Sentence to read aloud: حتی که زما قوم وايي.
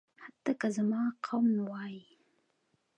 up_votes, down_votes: 2, 1